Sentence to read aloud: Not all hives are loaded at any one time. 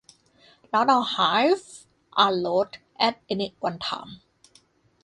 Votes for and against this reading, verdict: 0, 2, rejected